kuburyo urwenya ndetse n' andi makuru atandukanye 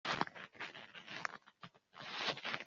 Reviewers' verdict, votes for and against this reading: rejected, 1, 2